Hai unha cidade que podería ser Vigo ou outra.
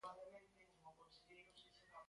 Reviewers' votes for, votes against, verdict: 0, 2, rejected